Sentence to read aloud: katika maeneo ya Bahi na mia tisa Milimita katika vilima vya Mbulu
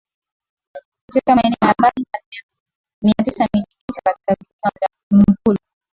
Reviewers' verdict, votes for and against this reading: rejected, 0, 2